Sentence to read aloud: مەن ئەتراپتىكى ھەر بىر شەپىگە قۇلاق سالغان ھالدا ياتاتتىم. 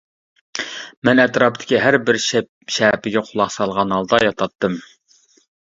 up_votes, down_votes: 0, 2